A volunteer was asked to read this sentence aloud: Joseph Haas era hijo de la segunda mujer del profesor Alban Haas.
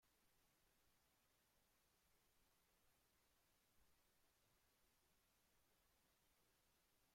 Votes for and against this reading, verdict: 0, 2, rejected